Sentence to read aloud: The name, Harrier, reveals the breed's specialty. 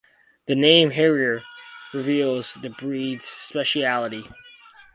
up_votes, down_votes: 4, 0